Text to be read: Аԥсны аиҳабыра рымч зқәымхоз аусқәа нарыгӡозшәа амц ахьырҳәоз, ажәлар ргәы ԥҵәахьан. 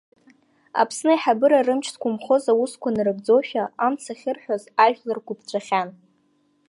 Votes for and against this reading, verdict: 1, 2, rejected